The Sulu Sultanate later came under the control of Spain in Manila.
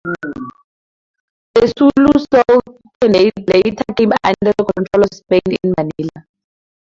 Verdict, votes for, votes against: rejected, 0, 2